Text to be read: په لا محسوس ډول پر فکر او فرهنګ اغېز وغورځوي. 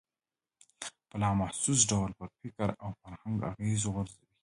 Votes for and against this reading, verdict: 1, 2, rejected